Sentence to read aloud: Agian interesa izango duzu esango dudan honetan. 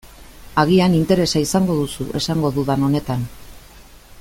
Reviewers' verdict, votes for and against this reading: accepted, 3, 0